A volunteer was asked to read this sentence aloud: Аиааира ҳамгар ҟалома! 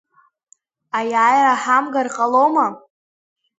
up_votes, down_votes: 0, 2